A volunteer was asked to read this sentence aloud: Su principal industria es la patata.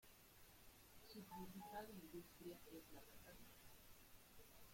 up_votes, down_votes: 0, 2